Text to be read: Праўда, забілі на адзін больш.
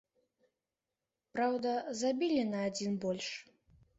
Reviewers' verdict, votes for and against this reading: accepted, 2, 0